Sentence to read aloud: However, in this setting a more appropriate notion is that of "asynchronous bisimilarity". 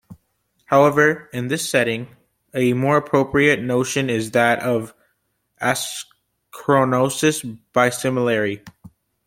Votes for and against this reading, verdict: 0, 2, rejected